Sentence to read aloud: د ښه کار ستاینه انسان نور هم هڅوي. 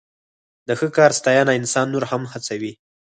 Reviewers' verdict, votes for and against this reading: rejected, 0, 4